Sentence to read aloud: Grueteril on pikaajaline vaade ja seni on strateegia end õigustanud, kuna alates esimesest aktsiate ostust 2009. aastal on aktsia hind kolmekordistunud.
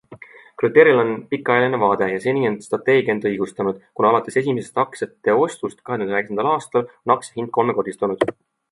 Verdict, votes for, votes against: rejected, 0, 2